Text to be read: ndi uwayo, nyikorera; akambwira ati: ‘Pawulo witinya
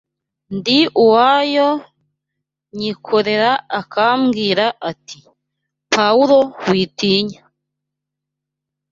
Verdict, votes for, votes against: accepted, 2, 0